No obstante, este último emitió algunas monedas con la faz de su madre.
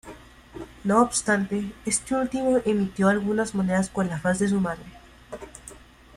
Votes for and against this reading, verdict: 2, 0, accepted